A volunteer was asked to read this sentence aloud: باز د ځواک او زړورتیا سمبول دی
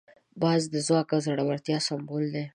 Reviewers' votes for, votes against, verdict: 2, 0, accepted